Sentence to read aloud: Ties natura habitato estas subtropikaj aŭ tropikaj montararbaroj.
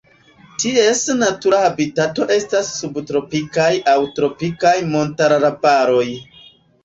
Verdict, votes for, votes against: rejected, 0, 2